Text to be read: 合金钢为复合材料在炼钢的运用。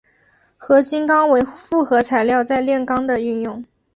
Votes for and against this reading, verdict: 3, 0, accepted